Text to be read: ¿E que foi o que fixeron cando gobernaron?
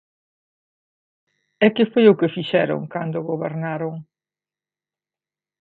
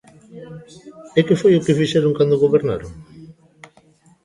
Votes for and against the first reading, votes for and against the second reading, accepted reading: 2, 0, 1, 2, first